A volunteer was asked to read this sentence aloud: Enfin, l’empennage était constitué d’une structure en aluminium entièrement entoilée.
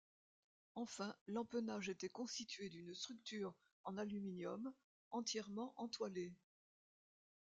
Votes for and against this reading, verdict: 0, 2, rejected